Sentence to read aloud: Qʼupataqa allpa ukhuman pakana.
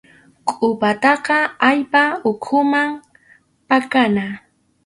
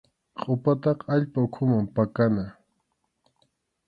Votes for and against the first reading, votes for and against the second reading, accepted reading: 2, 2, 2, 0, second